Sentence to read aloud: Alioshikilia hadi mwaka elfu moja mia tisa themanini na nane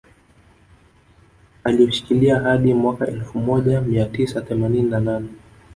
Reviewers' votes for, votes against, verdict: 0, 2, rejected